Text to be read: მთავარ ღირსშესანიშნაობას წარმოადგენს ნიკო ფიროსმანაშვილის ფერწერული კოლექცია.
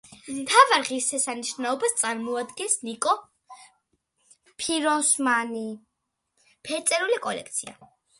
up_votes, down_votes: 1, 2